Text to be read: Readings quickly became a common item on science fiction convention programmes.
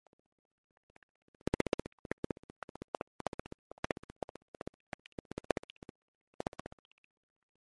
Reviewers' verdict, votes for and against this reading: rejected, 0, 2